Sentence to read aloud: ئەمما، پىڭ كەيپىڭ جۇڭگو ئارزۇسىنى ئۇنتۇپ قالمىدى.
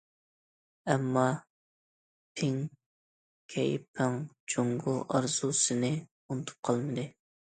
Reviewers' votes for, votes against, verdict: 2, 0, accepted